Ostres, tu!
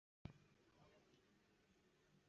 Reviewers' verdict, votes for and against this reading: rejected, 0, 2